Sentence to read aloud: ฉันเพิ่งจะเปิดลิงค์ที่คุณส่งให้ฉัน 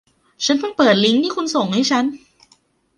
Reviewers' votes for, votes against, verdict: 1, 2, rejected